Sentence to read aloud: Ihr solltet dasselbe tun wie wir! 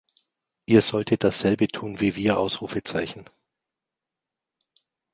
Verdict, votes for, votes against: rejected, 0, 2